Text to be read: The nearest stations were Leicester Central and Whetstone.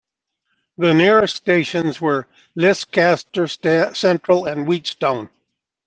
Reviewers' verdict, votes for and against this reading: rejected, 0, 2